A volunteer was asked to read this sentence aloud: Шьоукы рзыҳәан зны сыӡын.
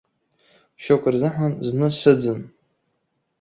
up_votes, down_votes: 2, 0